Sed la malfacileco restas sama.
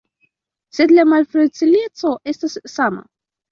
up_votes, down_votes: 2, 1